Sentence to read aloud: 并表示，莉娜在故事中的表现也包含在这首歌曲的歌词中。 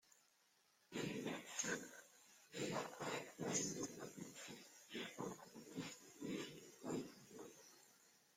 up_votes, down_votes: 0, 2